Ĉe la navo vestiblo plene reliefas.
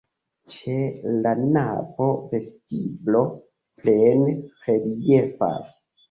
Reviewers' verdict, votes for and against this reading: accepted, 2, 0